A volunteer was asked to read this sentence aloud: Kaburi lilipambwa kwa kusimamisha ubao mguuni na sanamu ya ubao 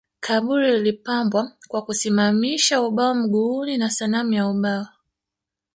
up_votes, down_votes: 4, 0